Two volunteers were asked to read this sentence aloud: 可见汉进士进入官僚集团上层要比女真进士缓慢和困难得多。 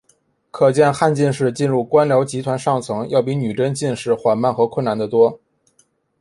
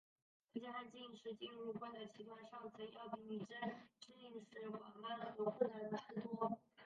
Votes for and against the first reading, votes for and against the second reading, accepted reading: 2, 0, 2, 3, first